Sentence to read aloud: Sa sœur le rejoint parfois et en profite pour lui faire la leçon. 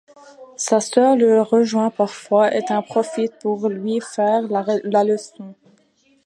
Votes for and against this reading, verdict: 0, 2, rejected